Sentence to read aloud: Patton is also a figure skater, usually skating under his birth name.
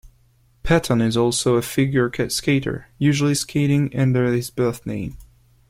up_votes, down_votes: 1, 2